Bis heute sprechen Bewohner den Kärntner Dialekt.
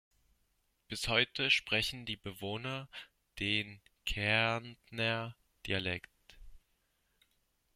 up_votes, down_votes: 1, 2